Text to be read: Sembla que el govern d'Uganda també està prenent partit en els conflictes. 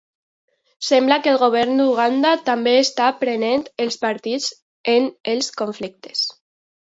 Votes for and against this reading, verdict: 2, 1, accepted